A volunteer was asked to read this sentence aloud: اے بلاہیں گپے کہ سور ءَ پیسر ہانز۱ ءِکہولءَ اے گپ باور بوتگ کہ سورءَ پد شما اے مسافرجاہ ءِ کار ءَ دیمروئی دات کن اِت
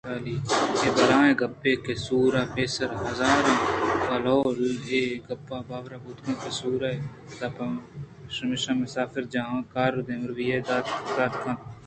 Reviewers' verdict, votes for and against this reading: rejected, 0, 2